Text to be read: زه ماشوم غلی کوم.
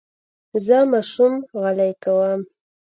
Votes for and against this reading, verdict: 0, 2, rejected